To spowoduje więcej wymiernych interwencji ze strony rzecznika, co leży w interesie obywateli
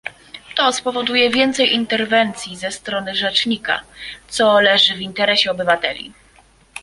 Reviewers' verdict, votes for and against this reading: rejected, 1, 2